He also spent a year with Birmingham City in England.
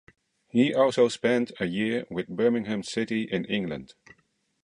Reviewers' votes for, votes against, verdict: 2, 0, accepted